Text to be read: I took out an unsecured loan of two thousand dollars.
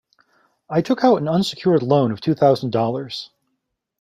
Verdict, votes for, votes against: accepted, 2, 0